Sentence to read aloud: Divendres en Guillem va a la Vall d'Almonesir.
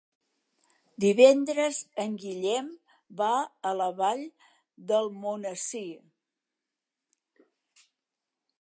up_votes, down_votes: 2, 0